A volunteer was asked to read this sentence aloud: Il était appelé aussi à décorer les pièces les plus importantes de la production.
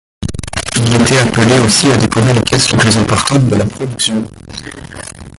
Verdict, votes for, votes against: rejected, 1, 2